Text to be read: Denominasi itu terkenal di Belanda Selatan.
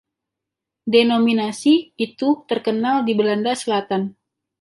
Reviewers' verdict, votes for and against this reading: accepted, 2, 0